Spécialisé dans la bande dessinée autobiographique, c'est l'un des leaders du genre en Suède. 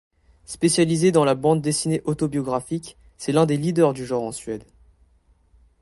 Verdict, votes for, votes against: accepted, 2, 0